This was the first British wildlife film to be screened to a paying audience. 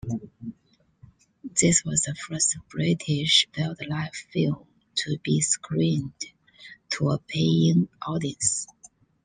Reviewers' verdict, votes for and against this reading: accepted, 2, 1